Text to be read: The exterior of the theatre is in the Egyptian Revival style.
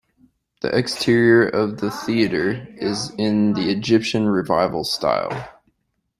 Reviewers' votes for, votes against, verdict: 2, 0, accepted